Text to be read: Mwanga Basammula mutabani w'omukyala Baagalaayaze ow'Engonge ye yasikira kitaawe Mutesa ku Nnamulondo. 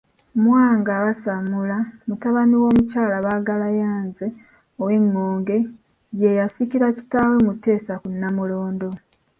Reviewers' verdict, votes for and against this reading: rejected, 1, 3